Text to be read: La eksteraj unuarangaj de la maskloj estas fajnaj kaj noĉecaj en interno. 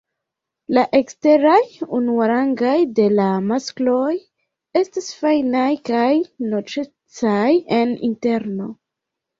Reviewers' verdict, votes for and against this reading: rejected, 0, 2